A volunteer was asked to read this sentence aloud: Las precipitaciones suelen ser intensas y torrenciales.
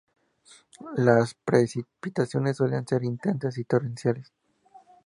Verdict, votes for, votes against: accepted, 2, 0